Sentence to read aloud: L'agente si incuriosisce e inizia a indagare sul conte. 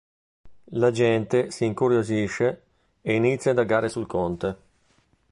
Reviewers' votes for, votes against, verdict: 0, 2, rejected